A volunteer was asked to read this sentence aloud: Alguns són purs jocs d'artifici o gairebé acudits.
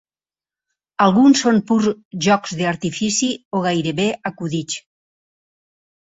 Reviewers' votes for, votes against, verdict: 0, 4, rejected